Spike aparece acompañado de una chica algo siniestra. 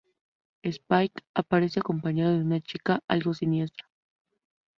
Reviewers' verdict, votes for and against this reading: rejected, 0, 2